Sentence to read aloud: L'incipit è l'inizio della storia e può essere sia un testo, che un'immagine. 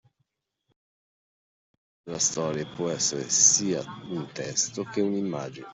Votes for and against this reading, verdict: 0, 2, rejected